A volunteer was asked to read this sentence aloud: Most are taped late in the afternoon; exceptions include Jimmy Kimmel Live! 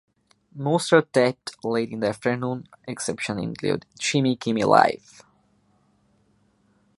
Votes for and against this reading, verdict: 2, 1, accepted